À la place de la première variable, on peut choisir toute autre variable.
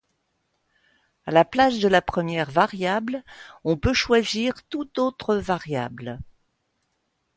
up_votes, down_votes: 0, 2